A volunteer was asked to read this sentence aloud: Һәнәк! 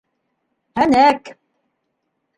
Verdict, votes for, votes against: accepted, 2, 0